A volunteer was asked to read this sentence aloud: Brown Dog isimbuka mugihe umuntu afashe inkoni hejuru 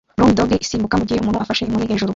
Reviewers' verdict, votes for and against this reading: accepted, 2, 1